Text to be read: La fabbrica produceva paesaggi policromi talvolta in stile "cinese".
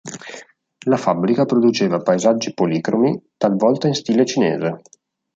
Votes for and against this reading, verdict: 2, 0, accepted